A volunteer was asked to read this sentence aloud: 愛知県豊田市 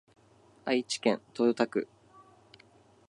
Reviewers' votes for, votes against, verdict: 2, 5, rejected